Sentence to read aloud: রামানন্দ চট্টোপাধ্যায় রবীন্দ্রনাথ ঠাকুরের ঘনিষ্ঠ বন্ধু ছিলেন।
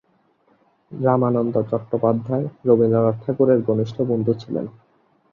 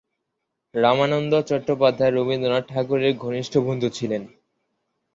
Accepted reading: second